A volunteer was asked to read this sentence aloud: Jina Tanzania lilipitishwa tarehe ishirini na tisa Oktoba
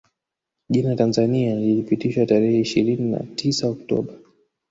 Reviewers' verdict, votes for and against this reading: rejected, 1, 2